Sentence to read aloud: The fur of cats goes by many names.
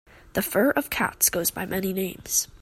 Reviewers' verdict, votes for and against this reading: accepted, 2, 0